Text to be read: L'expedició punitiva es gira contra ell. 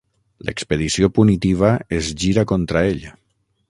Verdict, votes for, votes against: rejected, 0, 6